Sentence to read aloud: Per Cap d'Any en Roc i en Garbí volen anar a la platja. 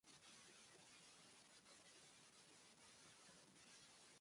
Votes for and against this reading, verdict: 0, 2, rejected